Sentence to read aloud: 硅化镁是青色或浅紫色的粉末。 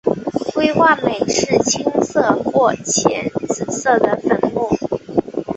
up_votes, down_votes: 2, 0